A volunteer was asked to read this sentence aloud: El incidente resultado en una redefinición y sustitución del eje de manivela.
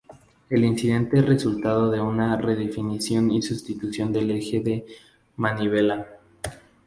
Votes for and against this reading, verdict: 0, 2, rejected